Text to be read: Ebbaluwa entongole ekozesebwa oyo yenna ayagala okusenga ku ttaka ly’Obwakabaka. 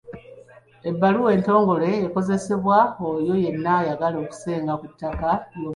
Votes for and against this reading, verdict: 1, 2, rejected